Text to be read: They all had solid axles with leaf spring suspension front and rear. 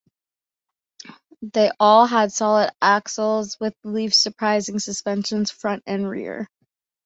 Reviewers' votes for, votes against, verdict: 2, 3, rejected